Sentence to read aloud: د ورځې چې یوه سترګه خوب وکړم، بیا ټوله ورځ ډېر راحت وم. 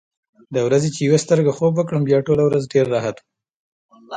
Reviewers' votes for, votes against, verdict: 2, 0, accepted